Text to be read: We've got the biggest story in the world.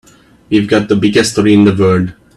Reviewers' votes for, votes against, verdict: 2, 0, accepted